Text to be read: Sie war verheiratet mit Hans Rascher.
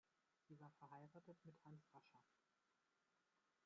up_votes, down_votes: 1, 2